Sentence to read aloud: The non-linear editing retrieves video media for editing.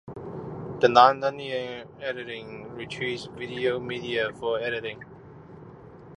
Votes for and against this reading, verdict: 2, 0, accepted